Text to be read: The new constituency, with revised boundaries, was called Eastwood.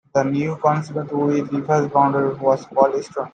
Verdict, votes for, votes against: rejected, 1, 2